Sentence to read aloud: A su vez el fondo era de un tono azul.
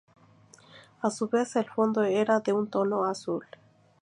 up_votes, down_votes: 0, 2